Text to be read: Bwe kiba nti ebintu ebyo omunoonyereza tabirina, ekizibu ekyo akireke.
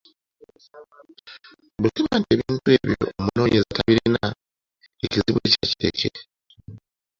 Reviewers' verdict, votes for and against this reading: rejected, 1, 2